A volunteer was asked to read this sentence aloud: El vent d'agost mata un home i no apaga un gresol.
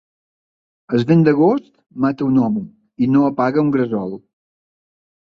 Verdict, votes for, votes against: rejected, 1, 2